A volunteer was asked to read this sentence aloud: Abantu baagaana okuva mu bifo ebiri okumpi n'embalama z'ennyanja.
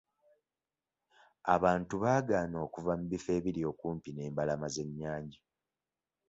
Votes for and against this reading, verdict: 2, 0, accepted